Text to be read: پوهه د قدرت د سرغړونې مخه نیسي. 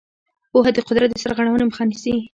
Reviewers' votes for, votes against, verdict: 0, 2, rejected